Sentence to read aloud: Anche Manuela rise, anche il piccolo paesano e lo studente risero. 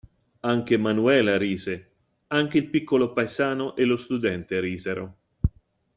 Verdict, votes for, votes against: accepted, 2, 0